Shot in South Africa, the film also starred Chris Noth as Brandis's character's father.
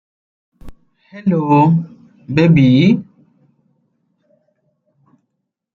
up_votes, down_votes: 0, 2